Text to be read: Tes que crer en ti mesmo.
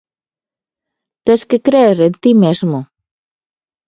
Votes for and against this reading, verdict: 1, 2, rejected